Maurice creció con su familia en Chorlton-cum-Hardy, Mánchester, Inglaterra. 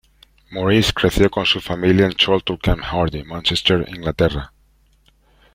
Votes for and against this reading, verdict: 2, 0, accepted